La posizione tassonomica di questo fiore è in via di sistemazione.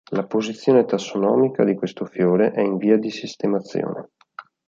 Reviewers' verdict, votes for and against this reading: accepted, 2, 0